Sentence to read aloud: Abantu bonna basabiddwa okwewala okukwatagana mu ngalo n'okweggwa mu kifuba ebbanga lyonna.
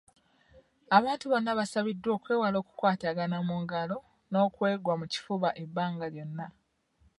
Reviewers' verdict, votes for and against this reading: accepted, 2, 0